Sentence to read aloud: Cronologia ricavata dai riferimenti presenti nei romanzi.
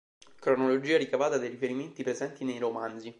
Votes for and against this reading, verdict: 1, 2, rejected